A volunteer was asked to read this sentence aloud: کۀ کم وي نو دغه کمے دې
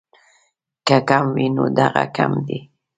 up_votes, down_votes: 1, 2